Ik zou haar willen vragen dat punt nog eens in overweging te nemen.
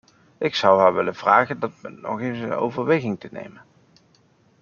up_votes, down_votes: 2, 0